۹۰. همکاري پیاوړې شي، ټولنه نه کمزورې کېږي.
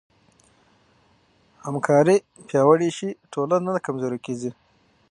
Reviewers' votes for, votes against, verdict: 0, 2, rejected